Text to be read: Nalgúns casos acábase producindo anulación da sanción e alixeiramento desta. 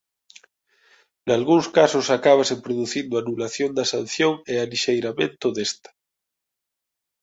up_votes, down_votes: 2, 0